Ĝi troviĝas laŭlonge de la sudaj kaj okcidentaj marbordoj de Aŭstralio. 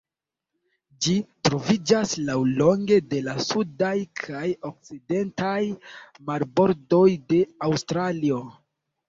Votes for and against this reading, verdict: 0, 2, rejected